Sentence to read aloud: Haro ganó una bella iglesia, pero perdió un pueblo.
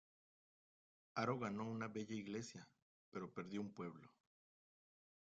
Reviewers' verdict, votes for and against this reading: accepted, 2, 0